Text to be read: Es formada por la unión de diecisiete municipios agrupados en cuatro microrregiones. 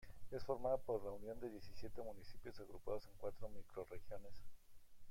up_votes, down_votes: 1, 2